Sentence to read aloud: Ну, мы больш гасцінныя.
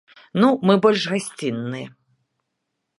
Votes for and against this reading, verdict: 2, 0, accepted